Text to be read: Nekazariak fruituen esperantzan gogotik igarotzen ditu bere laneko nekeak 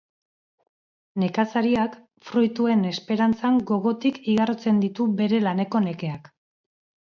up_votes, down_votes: 2, 0